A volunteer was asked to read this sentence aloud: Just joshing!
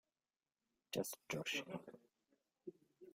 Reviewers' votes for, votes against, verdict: 0, 2, rejected